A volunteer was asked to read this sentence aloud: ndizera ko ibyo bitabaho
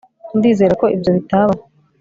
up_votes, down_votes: 3, 0